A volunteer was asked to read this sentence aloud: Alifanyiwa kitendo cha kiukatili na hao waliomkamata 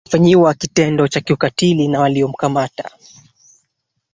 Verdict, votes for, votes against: rejected, 1, 2